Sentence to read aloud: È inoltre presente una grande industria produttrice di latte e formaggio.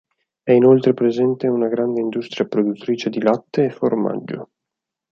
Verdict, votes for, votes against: accepted, 4, 0